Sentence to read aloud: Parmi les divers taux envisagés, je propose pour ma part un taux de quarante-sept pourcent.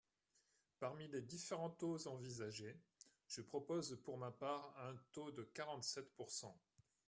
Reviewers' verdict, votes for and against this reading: rejected, 1, 2